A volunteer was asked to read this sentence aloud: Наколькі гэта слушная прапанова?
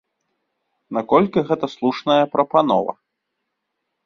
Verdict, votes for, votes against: accepted, 2, 0